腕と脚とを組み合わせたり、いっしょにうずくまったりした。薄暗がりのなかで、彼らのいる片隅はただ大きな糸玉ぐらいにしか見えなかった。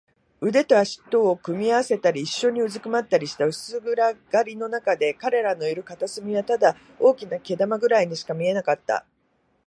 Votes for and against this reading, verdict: 1, 2, rejected